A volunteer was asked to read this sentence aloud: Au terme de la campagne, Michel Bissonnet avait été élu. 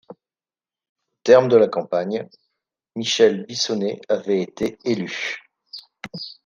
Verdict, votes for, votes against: rejected, 1, 2